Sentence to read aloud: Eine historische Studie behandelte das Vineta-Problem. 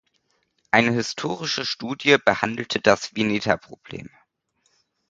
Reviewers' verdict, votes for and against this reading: accepted, 2, 0